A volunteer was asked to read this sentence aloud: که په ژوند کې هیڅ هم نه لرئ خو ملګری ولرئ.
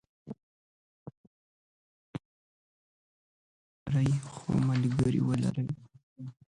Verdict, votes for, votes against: rejected, 0, 2